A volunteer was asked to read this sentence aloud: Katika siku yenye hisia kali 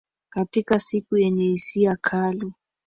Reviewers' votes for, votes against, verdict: 2, 1, accepted